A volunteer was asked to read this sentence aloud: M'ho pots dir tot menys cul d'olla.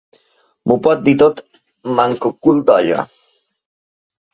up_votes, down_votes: 1, 2